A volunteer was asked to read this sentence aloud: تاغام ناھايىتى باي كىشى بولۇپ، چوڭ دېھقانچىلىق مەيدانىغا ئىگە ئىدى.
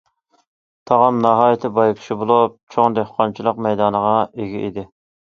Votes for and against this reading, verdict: 2, 0, accepted